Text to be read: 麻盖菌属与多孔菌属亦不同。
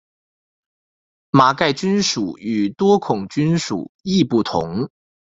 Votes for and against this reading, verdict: 2, 0, accepted